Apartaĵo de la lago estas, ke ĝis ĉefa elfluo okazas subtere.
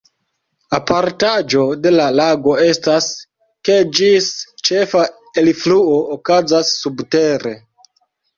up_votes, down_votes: 2, 0